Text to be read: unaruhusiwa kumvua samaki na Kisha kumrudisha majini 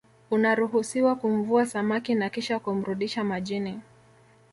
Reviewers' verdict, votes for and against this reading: rejected, 1, 2